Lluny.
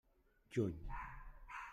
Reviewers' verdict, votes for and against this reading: rejected, 0, 2